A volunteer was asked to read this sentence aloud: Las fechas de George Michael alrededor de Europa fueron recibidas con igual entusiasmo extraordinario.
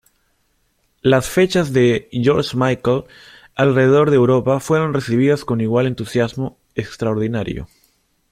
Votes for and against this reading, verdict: 2, 0, accepted